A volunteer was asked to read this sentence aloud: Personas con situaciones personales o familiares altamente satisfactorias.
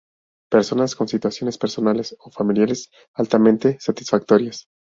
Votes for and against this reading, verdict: 2, 0, accepted